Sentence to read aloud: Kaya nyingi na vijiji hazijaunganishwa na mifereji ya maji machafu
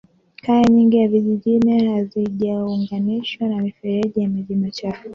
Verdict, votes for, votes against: rejected, 1, 2